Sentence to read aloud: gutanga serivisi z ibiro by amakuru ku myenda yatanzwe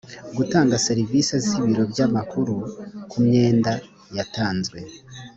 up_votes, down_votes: 2, 0